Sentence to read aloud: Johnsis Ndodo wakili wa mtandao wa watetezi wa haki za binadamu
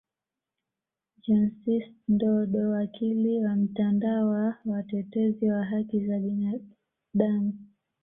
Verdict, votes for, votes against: accepted, 2, 1